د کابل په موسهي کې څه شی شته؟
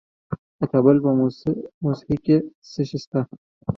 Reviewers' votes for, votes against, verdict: 2, 1, accepted